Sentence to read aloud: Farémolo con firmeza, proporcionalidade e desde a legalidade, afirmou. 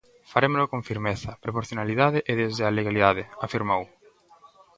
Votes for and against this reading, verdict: 2, 0, accepted